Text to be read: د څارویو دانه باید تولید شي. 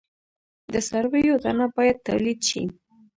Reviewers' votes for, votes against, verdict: 1, 2, rejected